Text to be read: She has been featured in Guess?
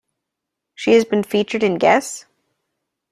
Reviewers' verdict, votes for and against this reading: accepted, 2, 0